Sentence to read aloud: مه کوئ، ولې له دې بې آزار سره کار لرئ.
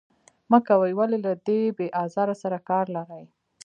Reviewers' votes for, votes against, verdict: 3, 0, accepted